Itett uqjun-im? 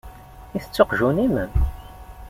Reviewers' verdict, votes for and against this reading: accepted, 2, 0